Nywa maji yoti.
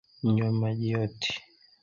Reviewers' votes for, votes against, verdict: 1, 2, rejected